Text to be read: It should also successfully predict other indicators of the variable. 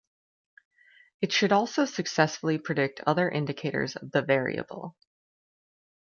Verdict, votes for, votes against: accepted, 2, 0